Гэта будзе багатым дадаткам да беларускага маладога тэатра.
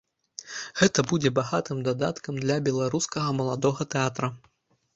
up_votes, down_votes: 1, 2